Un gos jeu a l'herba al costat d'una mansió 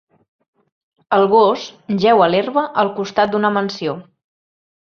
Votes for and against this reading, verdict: 1, 2, rejected